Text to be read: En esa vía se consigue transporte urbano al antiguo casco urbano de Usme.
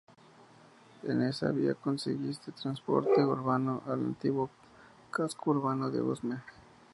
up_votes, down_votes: 2, 2